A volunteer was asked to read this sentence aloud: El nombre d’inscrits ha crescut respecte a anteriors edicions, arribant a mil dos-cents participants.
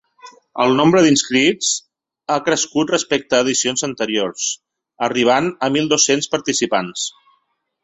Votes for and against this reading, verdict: 2, 3, rejected